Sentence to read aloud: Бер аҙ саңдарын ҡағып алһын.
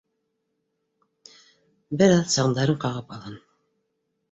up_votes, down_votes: 2, 0